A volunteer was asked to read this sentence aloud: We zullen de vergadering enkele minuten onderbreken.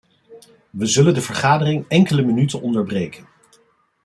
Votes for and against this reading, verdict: 2, 0, accepted